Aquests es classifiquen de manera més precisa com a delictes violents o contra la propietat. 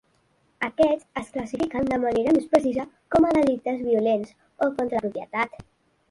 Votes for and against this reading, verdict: 1, 3, rejected